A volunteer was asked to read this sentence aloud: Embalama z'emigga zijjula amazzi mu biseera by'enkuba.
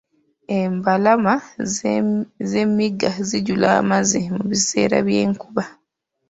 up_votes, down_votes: 1, 2